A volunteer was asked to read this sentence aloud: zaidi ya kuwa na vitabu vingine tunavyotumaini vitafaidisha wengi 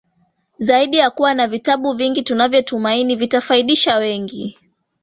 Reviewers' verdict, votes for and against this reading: rejected, 1, 2